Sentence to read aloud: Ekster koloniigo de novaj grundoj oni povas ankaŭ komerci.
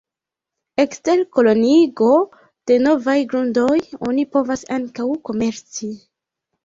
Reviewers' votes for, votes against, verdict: 2, 0, accepted